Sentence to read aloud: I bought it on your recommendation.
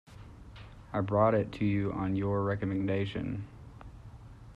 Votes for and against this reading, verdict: 0, 2, rejected